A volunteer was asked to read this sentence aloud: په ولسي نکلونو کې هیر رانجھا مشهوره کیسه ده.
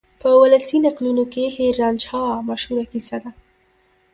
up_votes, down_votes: 0, 2